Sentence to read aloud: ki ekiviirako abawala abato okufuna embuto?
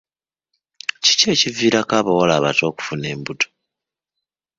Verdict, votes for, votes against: rejected, 0, 2